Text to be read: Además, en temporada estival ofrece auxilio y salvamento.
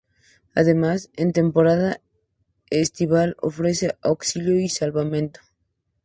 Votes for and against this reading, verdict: 2, 0, accepted